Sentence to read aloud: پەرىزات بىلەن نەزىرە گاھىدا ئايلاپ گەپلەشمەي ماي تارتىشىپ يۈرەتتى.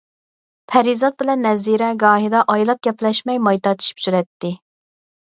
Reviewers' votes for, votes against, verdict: 4, 0, accepted